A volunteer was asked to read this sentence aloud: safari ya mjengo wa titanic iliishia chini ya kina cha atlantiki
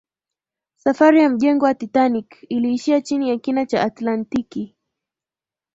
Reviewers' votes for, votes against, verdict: 5, 0, accepted